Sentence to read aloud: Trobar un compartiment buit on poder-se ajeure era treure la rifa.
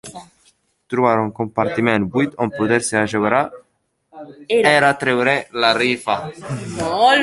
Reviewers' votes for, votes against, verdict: 0, 2, rejected